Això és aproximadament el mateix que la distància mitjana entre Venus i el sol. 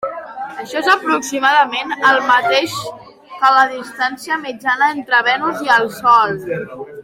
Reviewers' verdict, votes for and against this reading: accepted, 3, 1